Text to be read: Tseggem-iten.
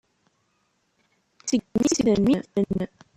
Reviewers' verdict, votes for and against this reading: rejected, 1, 2